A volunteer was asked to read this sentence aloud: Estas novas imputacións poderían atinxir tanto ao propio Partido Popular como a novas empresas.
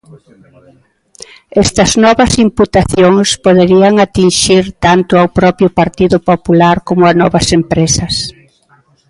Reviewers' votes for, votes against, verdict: 0, 2, rejected